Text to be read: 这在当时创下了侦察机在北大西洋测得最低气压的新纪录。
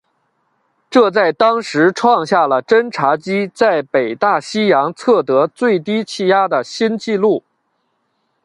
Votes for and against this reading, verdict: 2, 0, accepted